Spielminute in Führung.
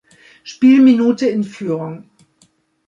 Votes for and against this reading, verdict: 2, 0, accepted